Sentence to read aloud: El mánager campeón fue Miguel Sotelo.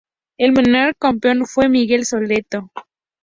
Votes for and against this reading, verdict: 0, 2, rejected